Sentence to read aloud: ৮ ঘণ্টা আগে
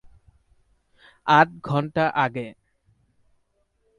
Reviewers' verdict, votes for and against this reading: rejected, 0, 2